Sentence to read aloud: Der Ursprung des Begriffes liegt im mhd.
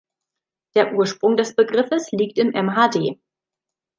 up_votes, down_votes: 2, 0